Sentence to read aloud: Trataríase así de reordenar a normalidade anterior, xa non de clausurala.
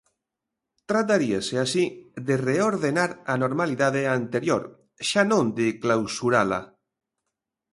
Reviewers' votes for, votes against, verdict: 2, 0, accepted